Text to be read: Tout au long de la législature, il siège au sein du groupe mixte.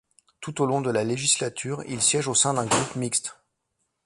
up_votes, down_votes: 1, 2